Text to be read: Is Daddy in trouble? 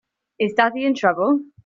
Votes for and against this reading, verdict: 3, 0, accepted